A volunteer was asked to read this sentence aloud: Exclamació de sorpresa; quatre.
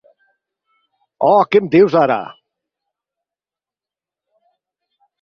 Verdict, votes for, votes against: rejected, 0, 4